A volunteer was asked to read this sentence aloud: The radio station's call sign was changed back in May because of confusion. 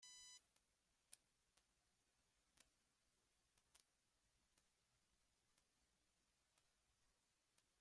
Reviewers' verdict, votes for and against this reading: rejected, 0, 2